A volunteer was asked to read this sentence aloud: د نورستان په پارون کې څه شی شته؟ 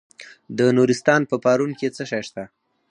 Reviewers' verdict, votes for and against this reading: accepted, 4, 0